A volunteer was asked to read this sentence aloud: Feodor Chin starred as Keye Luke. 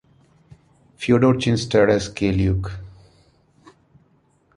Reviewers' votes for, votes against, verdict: 2, 0, accepted